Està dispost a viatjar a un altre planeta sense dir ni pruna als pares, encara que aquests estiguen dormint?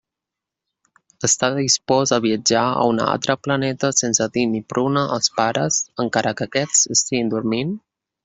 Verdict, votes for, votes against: rejected, 0, 2